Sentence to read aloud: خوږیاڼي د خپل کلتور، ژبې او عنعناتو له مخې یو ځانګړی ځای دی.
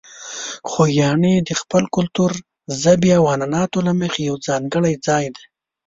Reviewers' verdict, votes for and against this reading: accepted, 2, 0